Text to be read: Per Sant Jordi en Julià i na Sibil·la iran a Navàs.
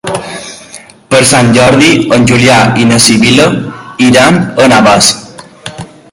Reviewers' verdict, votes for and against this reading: rejected, 0, 2